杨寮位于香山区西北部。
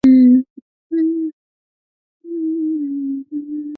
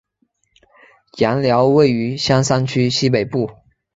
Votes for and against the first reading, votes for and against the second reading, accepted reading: 0, 4, 3, 0, second